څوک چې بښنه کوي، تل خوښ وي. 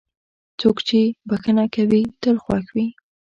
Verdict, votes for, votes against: accepted, 2, 0